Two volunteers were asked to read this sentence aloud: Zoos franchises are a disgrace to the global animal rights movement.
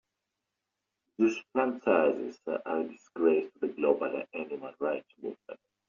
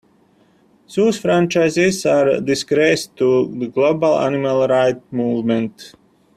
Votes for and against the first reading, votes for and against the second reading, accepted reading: 2, 0, 1, 2, first